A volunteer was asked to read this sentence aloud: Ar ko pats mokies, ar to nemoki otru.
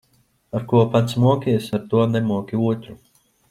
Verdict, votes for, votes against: rejected, 1, 2